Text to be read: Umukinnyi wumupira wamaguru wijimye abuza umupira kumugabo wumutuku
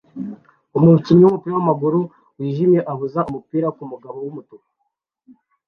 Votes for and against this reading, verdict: 2, 0, accepted